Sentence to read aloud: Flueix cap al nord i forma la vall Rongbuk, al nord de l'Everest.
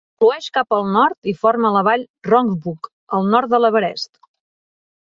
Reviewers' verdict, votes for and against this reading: accepted, 2, 0